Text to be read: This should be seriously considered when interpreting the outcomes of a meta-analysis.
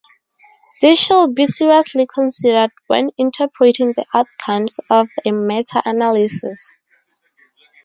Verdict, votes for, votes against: accepted, 4, 0